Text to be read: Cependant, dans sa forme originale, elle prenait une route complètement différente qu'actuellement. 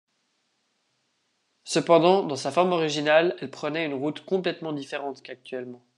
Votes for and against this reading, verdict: 2, 0, accepted